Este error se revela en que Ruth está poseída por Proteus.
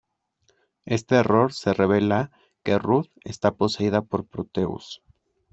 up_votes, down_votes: 0, 2